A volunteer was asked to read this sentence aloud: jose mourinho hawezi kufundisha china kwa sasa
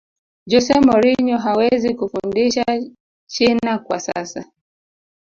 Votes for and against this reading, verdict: 2, 0, accepted